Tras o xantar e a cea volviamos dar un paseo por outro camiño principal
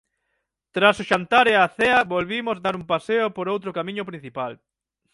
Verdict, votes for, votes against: rejected, 0, 6